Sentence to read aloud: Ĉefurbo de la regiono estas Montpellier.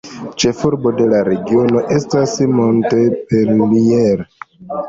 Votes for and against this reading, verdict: 2, 1, accepted